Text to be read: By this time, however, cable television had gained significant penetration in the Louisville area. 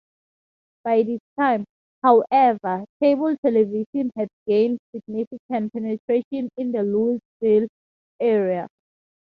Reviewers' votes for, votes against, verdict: 2, 0, accepted